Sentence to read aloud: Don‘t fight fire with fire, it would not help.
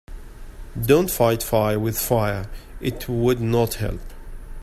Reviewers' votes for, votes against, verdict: 2, 0, accepted